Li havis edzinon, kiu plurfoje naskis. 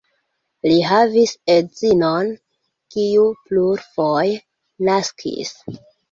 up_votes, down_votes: 1, 2